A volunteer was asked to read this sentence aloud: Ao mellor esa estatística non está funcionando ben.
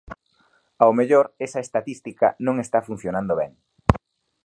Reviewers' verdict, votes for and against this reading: accepted, 2, 0